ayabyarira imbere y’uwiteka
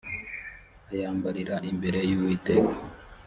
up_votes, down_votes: 0, 2